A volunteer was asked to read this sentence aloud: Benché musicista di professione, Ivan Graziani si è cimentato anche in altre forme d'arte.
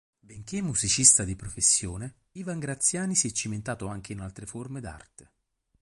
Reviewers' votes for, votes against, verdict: 4, 0, accepted